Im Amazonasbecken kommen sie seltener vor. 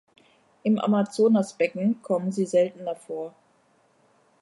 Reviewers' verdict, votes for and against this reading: accepted, 3, 0